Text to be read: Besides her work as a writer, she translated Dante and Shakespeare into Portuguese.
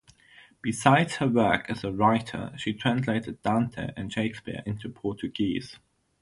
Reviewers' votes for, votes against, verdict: 0, 3, rejected